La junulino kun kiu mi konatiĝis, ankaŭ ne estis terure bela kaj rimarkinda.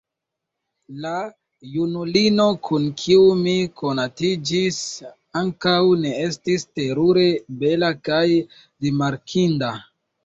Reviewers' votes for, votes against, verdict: 0, 2, rejected